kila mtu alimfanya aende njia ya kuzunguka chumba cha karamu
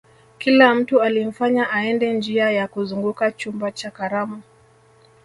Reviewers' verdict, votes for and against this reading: rejected, 1, 2